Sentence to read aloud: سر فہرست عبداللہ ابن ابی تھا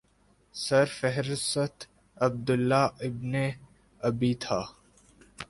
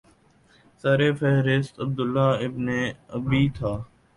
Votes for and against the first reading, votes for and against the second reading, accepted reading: 1, 2, 6, 0, second